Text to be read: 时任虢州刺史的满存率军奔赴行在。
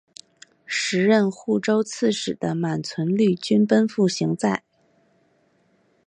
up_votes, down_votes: 1, 2